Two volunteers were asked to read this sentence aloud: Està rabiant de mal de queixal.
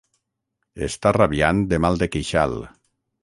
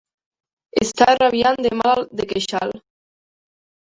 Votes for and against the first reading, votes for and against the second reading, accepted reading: 6, 0, 0, 2, first